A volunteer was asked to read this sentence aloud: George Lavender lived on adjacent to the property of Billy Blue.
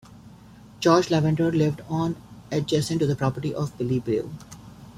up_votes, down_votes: 2, 0